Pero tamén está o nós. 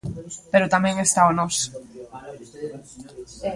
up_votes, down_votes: 2, 0